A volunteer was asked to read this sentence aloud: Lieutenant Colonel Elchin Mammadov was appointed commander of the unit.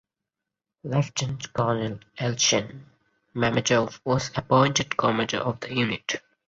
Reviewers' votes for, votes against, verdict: 2, 0, accepted